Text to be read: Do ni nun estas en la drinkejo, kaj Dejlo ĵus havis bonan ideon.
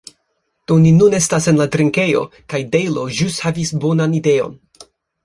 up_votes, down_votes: 3, 0